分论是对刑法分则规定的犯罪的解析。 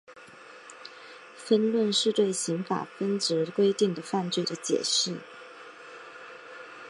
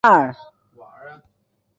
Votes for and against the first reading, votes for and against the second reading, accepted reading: 2, 0, 0, 2, first